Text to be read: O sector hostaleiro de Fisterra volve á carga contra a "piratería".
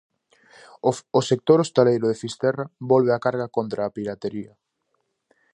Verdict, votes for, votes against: rejected, 2, 2